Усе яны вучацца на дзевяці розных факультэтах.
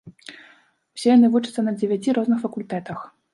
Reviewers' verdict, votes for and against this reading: accepted, 2, 0